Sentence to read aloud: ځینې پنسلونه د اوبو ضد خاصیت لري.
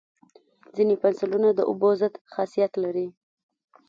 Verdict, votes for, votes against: accepted, 2, 1